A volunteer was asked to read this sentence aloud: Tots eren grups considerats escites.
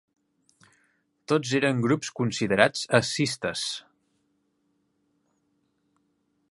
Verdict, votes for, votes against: rejected, 1, 2